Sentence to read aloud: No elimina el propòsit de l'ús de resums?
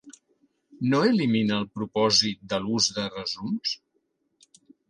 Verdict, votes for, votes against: accepted, 3, 0